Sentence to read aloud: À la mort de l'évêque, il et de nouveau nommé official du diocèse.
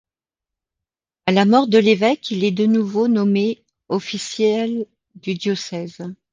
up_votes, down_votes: 0, 2